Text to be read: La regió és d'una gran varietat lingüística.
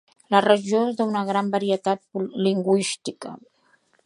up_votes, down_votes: 1, 2